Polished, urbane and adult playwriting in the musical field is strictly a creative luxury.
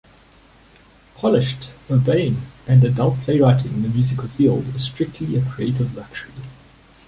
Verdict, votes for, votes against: rejected, 1, 2